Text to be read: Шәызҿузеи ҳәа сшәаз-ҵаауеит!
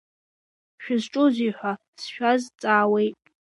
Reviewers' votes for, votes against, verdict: 2, 0, accepted